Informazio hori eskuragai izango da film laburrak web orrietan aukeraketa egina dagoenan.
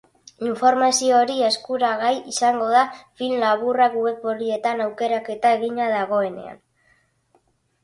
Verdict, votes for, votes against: accepted, 4, 0